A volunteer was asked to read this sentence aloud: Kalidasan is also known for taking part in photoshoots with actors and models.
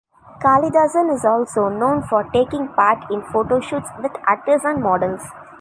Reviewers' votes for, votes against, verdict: 2, 0, accepted